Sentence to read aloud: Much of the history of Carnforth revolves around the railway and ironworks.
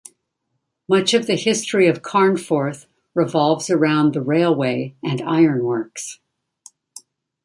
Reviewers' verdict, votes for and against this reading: accepted, 2, 0